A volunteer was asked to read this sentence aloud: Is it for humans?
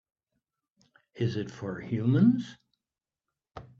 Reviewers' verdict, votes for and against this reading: accepted, 4, 0